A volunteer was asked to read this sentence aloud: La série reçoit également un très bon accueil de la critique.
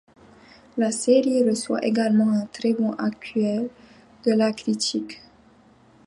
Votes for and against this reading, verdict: 2, 0, accepted